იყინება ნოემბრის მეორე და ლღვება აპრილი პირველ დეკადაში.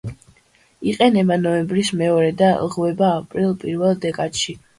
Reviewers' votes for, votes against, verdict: 2, 0, accepted